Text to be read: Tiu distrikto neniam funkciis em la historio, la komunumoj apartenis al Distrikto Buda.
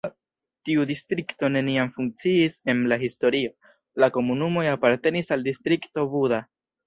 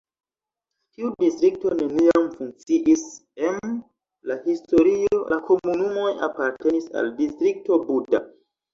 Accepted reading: second